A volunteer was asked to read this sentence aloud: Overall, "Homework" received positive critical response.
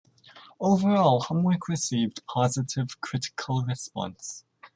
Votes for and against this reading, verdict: 2, 0, accepted